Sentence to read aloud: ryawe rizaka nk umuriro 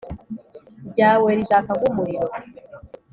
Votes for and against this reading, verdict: 2, 0, accepted